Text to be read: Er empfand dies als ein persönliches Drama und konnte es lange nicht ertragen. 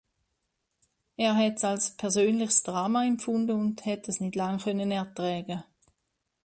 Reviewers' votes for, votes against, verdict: 0, 2, rejected